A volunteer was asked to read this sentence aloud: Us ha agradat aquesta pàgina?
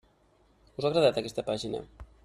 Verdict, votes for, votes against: accepted, 3, 1